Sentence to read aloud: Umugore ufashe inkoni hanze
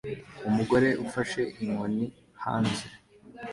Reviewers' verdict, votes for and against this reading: accepted, 2, 0